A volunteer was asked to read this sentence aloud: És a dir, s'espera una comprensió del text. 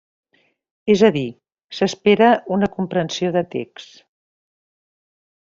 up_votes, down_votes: 1, 2